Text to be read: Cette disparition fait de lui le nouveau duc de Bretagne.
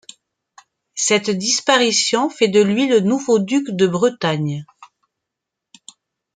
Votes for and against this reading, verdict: 2, 0, accepted